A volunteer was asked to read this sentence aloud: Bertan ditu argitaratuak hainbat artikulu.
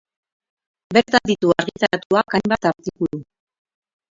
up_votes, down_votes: 2, 2